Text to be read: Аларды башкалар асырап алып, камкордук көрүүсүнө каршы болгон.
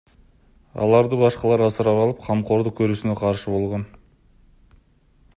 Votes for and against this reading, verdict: 2, 0, accepted